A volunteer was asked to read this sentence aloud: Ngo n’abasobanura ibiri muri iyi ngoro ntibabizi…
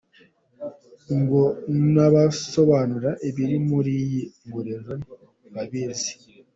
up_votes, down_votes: 0, 2